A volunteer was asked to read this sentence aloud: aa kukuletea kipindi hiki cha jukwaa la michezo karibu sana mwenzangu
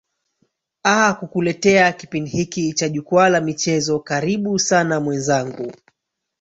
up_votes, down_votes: 3, 2